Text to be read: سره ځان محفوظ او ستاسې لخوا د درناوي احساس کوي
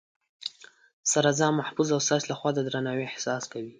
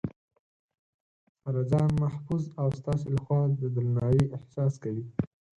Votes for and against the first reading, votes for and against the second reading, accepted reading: 2, 0, 0, 4, first